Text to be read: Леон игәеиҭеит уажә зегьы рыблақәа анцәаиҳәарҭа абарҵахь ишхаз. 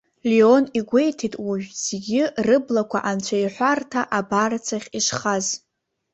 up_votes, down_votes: 2, 0